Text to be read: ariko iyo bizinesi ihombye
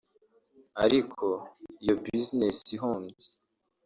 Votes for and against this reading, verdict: 1, 2, rejected